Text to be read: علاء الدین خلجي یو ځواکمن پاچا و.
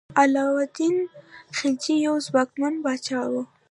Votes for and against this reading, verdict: 2, 0, accepted